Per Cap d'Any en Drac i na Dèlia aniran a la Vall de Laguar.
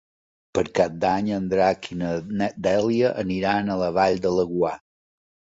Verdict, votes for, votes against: rejected, 1, 2